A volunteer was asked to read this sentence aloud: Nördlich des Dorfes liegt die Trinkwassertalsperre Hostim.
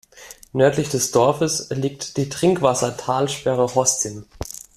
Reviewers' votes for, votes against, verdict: 2, 0, accepted